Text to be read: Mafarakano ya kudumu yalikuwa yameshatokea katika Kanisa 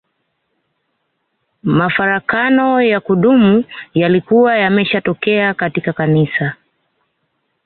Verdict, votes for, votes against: rejected, 1, 2